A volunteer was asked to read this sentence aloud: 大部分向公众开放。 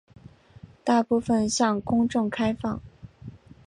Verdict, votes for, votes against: accepted, 2, 0